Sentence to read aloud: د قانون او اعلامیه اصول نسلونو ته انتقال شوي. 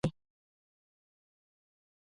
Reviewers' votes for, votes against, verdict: 1, 2, rejected